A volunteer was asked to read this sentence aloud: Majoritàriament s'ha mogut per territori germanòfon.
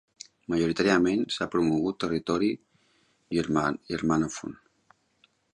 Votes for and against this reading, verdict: 0, 2, rejected